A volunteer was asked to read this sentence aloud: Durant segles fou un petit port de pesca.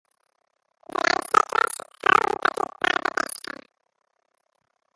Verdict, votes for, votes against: rejected, 1, 2